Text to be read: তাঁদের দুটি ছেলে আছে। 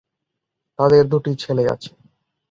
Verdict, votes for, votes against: accepted, 4, 0